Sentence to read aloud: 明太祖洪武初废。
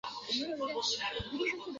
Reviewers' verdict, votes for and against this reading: rejected, 0, 4